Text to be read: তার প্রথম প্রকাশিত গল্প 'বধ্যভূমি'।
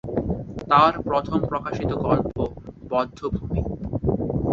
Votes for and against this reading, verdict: 2, 2, rejected